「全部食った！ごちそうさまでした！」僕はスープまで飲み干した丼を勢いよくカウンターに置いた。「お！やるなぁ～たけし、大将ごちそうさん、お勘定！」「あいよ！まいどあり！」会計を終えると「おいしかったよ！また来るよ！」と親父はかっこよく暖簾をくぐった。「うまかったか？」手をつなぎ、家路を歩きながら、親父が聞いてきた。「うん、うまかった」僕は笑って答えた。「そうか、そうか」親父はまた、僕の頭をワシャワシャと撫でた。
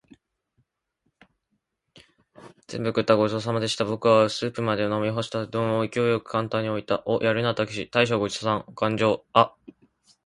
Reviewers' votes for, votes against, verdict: 0, 2, rejected